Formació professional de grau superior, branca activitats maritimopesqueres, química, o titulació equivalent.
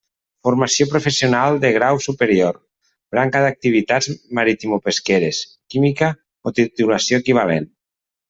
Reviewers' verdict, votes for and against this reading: rejected, 1, 2